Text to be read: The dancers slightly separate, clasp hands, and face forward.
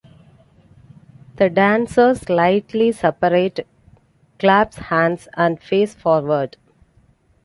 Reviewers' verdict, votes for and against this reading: rejected, 1, 2